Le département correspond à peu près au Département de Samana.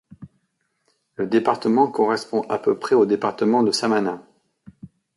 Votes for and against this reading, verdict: 2, 0, accepted